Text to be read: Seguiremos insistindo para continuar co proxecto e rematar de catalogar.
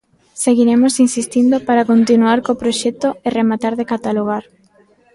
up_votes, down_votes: 2, 0